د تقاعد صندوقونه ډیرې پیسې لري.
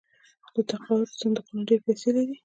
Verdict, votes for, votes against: accepted, 2, 0